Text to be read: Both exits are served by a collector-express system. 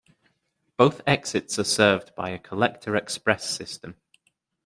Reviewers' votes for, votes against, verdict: 2, 0, accepted